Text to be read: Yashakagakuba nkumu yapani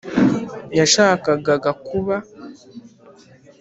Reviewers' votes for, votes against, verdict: 0, 2, rejected